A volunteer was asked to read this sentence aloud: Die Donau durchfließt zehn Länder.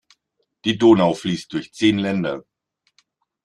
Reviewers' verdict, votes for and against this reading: rejected, 0, 2